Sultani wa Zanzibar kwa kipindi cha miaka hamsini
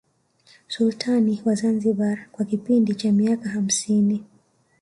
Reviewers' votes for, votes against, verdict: 3, 0, accepted